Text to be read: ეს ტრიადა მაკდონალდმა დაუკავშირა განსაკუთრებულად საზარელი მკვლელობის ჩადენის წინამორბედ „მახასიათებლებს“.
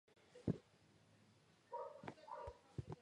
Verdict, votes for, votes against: rejected, 0, 2